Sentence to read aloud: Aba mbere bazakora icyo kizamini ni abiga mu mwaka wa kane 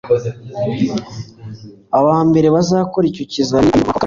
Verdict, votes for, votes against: rejected, 1, 2